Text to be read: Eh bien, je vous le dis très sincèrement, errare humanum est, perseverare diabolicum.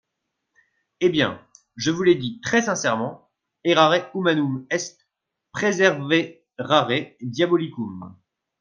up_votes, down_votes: 0, 2